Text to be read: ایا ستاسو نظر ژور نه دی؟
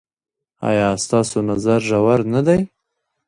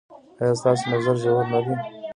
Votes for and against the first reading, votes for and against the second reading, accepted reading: 2, 0, 1, 2, first